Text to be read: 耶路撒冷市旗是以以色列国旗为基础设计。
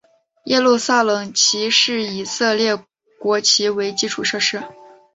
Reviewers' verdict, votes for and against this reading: accepted, 2, 1